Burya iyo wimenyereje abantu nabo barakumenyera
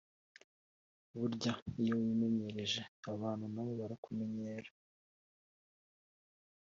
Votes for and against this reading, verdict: 4, 0, accepted